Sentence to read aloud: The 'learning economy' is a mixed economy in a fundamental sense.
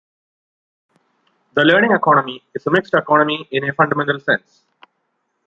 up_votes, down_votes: 1, 2